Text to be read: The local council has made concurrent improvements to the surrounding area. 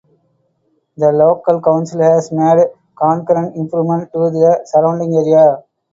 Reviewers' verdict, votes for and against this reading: accepted, 4, 2